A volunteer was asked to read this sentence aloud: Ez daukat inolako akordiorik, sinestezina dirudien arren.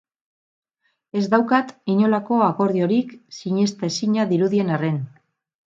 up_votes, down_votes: 2, 2